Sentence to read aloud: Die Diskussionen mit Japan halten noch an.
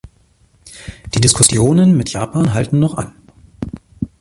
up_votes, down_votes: 2, 0